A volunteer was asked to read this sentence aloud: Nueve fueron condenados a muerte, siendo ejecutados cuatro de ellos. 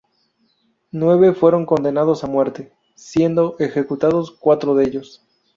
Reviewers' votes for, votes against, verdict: 2, 0, accepted